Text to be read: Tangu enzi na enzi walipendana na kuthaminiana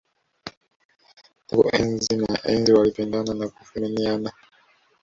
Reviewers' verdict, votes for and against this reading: accepted, 2, 1